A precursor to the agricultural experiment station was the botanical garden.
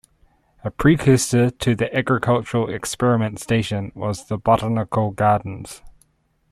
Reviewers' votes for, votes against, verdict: 1, 2, rejected